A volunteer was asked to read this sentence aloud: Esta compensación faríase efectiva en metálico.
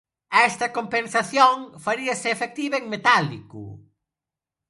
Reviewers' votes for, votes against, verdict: 2, 0, accepted